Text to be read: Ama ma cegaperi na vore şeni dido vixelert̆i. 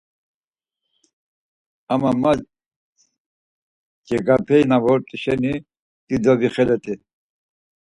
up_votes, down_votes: 2, 4